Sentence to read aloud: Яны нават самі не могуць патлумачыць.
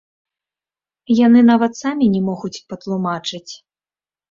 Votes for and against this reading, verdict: 1, 2, rejected